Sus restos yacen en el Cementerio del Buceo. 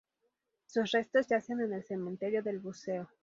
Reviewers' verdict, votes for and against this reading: accepted, 2, 0